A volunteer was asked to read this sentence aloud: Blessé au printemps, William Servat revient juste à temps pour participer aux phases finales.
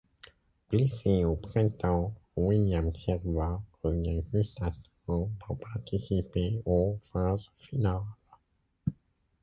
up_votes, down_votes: 2, 1